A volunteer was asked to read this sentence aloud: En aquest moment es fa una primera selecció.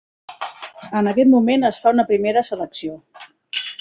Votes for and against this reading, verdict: 4, 0, accepted